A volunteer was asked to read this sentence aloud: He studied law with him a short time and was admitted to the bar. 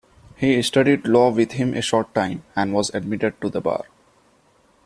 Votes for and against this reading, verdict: 2, 0, accepted